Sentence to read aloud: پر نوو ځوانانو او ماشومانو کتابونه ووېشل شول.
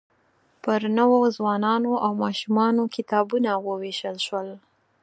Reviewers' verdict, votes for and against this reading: accepted, 4, 0